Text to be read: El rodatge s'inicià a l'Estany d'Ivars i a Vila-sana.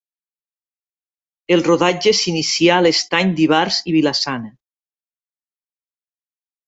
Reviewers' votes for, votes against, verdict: 1, 2, rejected